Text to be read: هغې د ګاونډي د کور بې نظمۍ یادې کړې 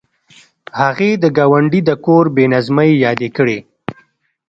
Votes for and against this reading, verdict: 2, 0, accepted